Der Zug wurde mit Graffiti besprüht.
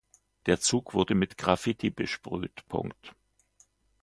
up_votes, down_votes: 1, 2